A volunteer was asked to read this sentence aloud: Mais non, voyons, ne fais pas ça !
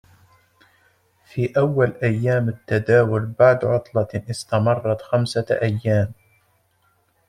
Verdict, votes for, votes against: rejected, 0, 2